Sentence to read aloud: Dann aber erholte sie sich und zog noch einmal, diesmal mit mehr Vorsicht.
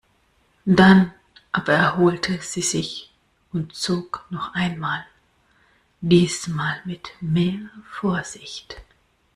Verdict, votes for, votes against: accepted, 2, 0